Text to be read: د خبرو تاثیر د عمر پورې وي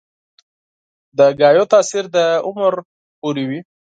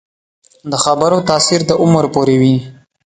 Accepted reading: second